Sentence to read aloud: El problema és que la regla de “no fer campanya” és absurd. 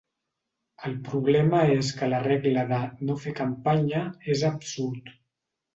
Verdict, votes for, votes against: accepted, 3, 0